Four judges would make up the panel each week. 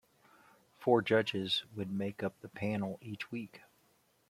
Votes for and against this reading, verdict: 2, 0, accepted